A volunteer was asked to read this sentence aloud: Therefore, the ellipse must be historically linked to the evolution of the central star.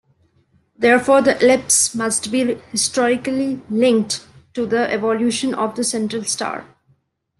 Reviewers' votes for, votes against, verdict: 0, 2, rejected